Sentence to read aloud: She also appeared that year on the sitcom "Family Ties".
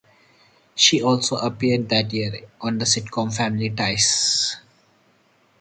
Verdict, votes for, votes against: accepted, 2, 0